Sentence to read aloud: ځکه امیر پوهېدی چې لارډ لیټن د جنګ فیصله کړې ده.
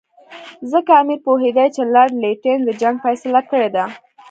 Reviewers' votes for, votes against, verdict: 2, 1, accepted